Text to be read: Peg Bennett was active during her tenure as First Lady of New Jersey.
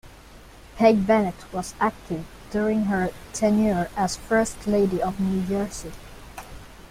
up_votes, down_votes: 2, 0